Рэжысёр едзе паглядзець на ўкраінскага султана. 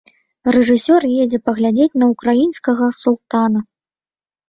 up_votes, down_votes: 2, 0